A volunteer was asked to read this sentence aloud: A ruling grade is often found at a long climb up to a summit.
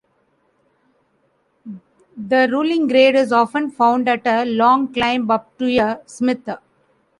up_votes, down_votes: 1, 2